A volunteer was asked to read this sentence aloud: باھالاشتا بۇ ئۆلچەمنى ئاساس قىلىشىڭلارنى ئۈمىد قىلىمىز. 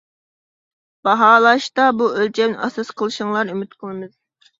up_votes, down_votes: 1, 2